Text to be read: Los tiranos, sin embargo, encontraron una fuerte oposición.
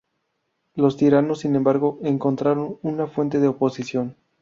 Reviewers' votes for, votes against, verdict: 0, 2, rejected